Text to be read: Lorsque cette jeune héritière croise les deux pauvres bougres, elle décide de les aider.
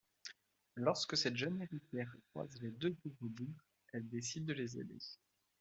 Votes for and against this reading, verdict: 2, 1, accepted